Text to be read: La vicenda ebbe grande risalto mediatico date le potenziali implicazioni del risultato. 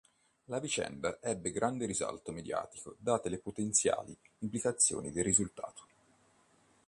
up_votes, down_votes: 2, 0